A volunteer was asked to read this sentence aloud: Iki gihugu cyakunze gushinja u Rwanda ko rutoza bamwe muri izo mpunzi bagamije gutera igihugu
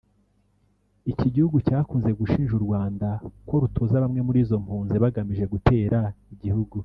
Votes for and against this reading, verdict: 2, 0, accepted